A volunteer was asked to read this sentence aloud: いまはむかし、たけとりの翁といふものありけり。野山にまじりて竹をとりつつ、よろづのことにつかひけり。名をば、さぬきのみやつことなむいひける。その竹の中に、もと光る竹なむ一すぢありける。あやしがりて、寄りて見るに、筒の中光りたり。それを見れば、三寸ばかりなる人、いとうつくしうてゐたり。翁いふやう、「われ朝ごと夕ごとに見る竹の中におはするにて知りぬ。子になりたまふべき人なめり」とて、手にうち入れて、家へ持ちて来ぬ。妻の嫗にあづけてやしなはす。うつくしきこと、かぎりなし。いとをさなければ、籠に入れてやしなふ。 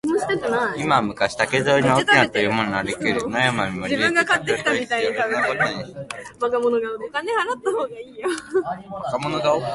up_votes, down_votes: 1, 2